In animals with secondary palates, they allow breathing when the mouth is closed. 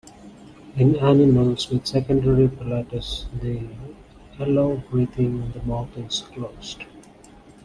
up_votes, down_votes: 0, 2